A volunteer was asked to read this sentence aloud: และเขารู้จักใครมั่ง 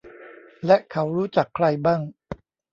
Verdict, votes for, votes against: rejected, 1, 2